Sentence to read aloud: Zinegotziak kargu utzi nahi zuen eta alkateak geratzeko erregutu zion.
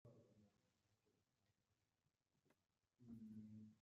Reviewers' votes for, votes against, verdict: 0, 2, rejected